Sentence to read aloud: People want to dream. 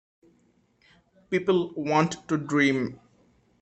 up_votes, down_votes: 2, 0